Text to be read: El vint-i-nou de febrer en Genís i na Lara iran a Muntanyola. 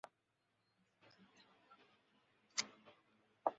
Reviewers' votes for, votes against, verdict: 0, 2, rejected